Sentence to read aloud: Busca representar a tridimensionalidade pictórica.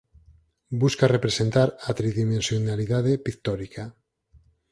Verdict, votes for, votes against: rejected, 0, 4